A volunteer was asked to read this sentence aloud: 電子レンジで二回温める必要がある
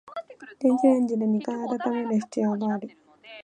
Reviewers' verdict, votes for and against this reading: accepted, 2, 0